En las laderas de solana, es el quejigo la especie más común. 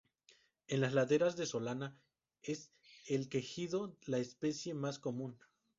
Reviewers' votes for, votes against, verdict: 2, 0, accepted